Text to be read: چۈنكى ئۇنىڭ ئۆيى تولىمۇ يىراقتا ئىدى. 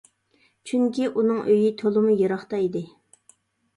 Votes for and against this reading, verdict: 2, 0, accepted